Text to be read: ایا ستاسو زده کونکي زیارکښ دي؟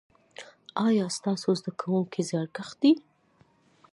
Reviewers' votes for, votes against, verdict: 2, 0, accepted